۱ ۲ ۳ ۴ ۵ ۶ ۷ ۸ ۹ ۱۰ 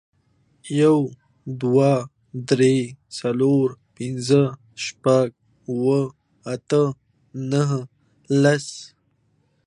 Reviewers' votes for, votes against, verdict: 0, 2, rejected